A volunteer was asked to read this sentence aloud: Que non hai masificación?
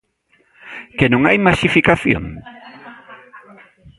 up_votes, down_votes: 0, 2